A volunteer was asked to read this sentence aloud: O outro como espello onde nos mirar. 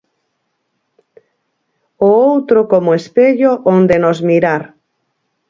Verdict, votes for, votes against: accepted, 4, 0